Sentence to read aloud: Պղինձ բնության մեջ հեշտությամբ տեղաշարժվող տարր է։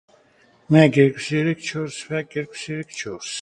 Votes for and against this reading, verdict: 0, 2, rejected